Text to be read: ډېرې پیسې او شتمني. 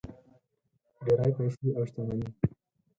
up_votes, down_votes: 2, 4